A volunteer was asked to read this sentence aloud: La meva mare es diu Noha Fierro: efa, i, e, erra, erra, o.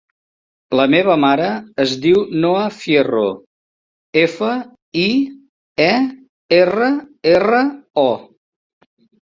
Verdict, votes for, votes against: accepted, 3, 0